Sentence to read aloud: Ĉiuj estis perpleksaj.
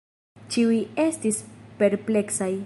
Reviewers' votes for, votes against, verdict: 2, 0, accepted